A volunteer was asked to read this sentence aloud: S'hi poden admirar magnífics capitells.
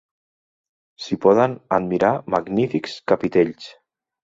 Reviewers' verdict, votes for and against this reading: accepted, 2, 0